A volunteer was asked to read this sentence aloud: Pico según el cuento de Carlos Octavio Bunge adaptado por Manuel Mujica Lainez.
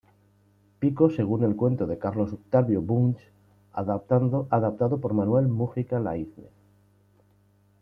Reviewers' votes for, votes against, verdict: 1, 2, rejected